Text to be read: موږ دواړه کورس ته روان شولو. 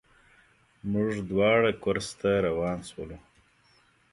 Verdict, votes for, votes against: accepted, 2, 0